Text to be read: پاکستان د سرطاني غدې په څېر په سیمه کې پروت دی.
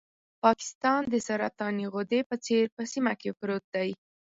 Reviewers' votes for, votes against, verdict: 4, 0, accepted